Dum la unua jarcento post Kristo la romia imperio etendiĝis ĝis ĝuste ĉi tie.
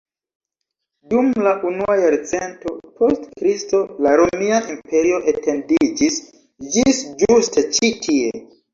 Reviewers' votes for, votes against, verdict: 1, 2, rejected